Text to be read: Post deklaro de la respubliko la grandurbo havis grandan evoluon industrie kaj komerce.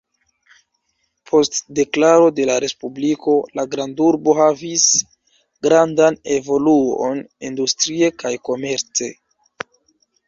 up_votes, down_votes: 2, 0